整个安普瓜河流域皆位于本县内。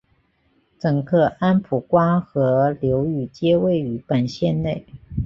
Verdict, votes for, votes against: accepted, 4, 0